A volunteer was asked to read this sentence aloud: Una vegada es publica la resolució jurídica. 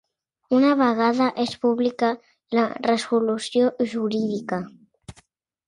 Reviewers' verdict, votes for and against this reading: accepted, 3, 1